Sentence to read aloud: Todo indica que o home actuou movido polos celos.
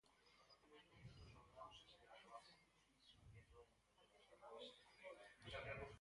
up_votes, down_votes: 0, 4